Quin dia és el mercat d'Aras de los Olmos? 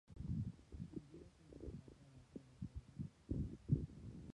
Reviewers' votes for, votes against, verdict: 0, 4, rejected